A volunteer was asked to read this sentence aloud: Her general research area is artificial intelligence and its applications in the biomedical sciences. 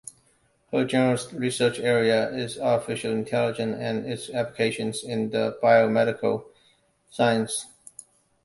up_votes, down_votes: 1, 2